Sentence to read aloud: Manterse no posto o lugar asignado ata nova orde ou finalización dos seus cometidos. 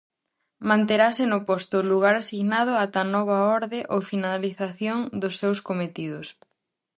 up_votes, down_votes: 0, 2